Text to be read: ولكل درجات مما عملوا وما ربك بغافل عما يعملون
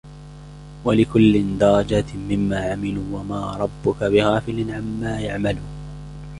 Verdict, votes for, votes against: rejected, 0, 2